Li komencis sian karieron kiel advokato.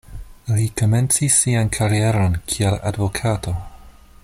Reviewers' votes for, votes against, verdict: 2, 0, accepted